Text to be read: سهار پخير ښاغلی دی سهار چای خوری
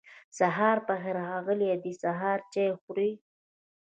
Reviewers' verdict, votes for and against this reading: rejected, 0, 2